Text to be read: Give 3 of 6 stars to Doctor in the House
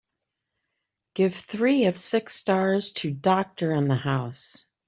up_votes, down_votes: 0, 2